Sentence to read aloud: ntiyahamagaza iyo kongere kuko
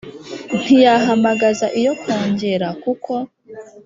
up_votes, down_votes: 3, 0